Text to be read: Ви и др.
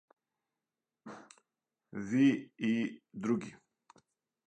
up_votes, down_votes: 2, 4